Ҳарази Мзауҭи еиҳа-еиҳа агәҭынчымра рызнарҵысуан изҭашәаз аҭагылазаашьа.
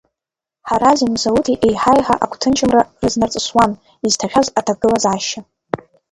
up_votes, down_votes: 1, 2